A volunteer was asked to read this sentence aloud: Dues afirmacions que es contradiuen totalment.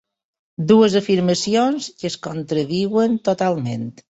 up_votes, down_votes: 2, 0